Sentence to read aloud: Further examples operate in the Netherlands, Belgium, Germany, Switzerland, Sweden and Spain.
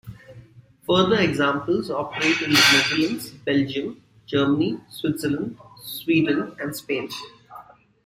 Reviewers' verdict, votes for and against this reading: rejected, 1, 2